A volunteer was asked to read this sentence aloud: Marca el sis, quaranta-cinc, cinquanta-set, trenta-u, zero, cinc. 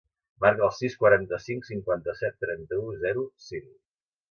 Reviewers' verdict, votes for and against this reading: accepted, 2, 0